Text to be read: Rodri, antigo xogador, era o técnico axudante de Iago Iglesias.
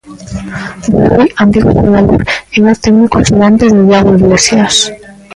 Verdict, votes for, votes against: rejected, 0, 2